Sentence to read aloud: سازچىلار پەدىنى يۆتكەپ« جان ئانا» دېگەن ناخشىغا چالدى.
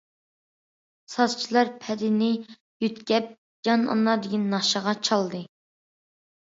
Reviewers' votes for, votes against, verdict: 2, 0, accepted